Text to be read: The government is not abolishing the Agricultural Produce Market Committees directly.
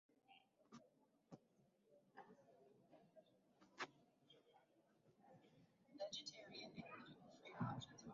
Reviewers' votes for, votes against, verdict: 0, 2, rejected